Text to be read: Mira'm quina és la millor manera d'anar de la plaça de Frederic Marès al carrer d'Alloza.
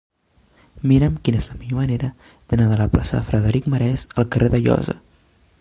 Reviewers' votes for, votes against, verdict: 2, 0, accepted